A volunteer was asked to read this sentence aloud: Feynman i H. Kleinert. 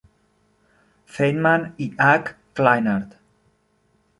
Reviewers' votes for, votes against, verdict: 0, 2, rejected